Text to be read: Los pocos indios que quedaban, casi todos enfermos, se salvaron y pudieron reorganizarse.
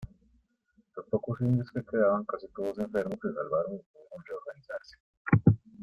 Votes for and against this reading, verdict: 0, 2, rejected